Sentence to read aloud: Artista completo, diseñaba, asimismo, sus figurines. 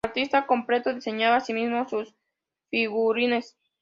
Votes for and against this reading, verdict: 2, 0, accepted